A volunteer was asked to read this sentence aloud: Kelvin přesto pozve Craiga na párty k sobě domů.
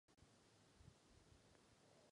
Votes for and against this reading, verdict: 0, 2, rejected